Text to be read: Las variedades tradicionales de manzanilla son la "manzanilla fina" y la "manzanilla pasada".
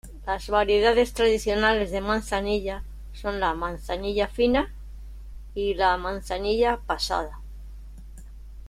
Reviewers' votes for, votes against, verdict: 2, 0, accepted